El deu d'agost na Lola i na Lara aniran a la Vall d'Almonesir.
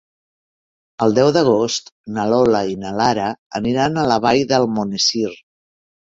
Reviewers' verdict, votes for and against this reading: rejected, 0, 2